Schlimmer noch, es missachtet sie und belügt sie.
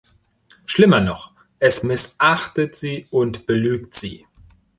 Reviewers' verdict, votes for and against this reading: accepted, 2, 0